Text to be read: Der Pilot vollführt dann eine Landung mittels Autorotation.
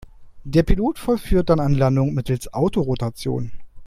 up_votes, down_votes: 1, 2